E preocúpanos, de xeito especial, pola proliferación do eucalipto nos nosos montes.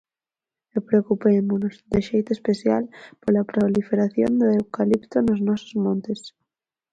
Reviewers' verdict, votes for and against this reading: rejected, 0, 4